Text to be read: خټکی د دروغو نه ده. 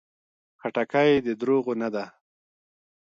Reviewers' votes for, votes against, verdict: 1, 2, rejected